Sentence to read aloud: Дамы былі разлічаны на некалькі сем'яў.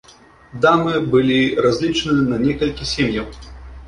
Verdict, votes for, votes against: rejected, 1, 2